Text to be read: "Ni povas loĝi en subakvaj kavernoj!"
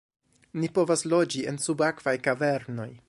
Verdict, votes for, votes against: accepted, 2, 0